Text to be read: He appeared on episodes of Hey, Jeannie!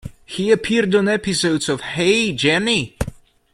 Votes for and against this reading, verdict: 1, 2, rejected